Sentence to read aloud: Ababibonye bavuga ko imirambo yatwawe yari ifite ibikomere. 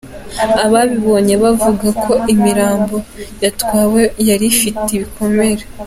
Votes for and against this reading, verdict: 2, 0, accepted